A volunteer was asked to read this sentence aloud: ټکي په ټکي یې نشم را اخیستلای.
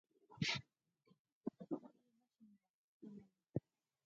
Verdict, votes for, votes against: rejected, 0, 6